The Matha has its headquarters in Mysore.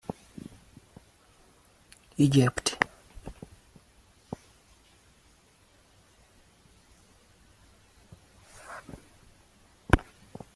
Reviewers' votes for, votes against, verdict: 0, 2, rejected